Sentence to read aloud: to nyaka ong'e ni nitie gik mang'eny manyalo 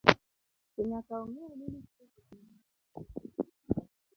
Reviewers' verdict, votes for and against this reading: rejected, 0, 2